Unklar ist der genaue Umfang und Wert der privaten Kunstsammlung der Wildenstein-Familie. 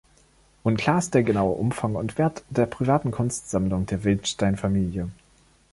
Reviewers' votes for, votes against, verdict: 2, 1, accepted